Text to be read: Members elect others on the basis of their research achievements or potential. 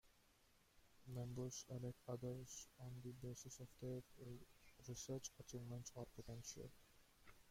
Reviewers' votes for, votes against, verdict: 0, 2, rejected